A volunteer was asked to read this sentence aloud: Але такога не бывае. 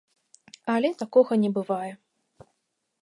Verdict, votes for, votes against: accepted, 2, 0